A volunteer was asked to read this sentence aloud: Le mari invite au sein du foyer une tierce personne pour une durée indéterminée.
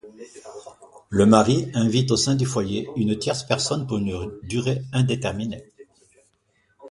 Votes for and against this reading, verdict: 2, 0, accepted